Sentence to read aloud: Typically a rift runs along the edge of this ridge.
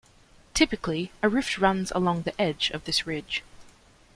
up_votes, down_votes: 2, 0